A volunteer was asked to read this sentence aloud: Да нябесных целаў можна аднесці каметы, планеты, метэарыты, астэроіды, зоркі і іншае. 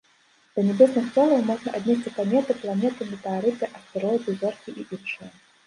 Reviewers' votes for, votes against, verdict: 1, 2, rejected